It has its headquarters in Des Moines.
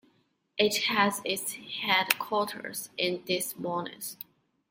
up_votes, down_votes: 2, 0